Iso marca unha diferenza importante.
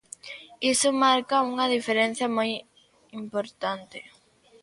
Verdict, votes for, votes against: rejected, 0, 2